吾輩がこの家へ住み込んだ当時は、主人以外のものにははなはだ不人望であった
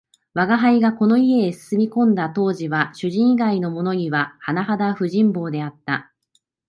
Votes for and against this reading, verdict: 2, 0, accepted